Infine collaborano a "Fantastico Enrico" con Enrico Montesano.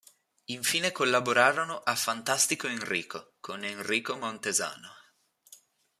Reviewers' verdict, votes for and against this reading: accepted, 3, 1